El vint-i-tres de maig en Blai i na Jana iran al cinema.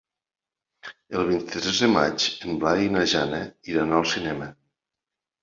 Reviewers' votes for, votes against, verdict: 4, 0, accepted